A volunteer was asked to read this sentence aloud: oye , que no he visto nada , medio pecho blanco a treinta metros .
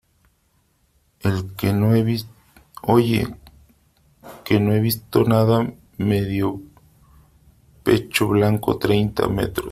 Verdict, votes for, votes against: rejected, 1, 3